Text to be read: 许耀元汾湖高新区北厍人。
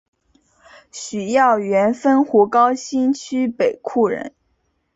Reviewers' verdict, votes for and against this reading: accepted, 2, 0